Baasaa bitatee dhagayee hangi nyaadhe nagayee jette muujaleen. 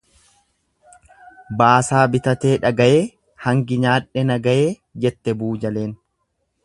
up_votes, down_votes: 0, 2